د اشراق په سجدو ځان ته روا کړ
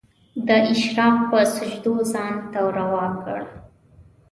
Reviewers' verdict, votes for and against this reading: accepted, 2, 0